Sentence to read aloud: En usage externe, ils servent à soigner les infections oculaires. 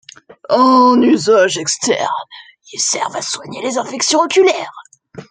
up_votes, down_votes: 2, 0